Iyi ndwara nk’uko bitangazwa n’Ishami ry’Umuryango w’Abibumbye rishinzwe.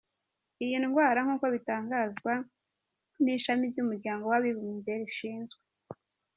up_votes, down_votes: 2, 0